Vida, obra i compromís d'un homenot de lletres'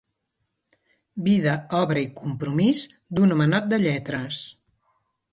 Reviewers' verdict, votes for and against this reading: accepted, 2, 0